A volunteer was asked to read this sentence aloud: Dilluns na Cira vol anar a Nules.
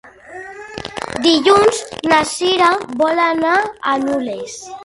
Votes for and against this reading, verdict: 1, 3, rejected